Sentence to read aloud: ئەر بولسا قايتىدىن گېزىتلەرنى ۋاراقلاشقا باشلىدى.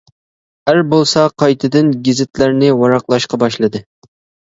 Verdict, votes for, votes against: accepted, 2, 0